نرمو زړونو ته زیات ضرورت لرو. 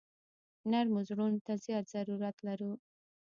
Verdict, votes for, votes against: rejected, 1, 2